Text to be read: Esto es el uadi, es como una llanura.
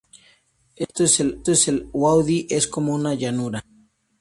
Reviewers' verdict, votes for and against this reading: rejected, 0, 2